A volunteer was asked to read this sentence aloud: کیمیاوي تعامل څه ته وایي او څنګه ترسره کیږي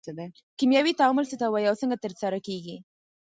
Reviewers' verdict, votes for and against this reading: accepted, 4, 2